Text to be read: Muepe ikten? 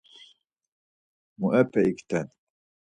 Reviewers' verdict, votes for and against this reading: accepted, 4, 0